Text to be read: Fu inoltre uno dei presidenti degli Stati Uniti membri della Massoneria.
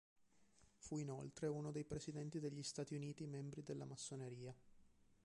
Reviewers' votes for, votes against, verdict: 2, 1, accepted